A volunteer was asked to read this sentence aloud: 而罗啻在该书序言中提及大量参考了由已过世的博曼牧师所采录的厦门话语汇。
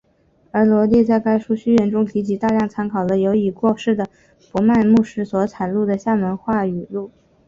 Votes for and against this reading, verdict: 2, 1, accepted